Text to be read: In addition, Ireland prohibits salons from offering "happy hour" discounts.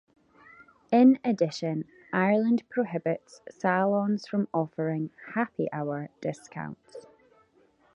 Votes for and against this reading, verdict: 2, 1, accepted